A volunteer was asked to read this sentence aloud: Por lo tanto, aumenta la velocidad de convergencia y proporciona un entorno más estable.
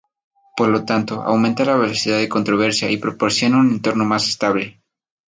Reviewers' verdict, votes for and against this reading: accepted, 2, 0